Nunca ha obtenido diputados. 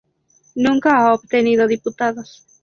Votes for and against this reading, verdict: 2, 0, accepted